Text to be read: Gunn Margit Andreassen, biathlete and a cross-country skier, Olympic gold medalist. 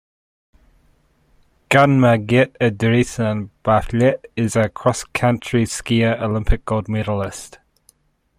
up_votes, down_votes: 2, 1